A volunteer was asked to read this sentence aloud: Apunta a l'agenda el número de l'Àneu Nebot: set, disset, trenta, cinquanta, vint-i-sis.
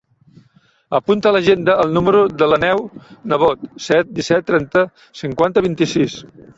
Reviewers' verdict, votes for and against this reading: rejected, 0, 2